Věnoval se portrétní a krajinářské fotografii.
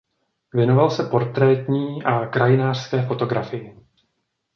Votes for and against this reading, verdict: 2, 0, accepted